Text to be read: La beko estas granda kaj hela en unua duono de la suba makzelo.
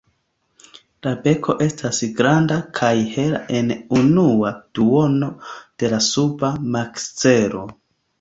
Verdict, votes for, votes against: accepted, 2, 0